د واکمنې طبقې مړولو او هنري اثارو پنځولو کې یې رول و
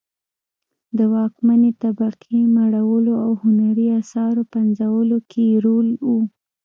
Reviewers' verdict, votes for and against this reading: rejected, 1, 2